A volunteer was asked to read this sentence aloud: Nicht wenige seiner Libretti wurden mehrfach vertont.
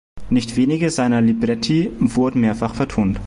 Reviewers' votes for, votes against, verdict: 2, 0, accepted